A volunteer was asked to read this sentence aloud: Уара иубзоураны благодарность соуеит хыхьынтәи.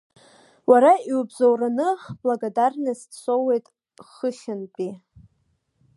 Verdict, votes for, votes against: rejected, 1, 2